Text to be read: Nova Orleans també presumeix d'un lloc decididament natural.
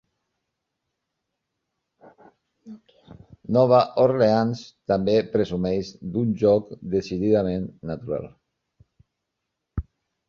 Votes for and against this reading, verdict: 0, 2, rejected